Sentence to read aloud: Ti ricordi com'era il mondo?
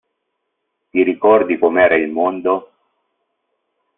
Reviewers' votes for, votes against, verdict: 2, 0, accepted